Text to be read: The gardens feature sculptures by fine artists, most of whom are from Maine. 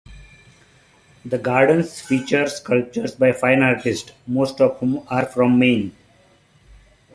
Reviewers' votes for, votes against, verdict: 2, 1, accepted